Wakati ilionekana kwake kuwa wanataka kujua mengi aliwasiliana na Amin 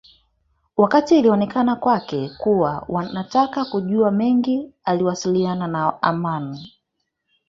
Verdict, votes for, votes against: rejected, 0, 2